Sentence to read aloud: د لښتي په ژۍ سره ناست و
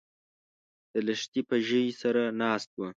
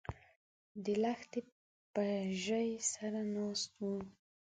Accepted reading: second